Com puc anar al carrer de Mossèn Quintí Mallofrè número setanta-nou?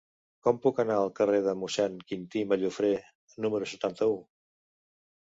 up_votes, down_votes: 0, 2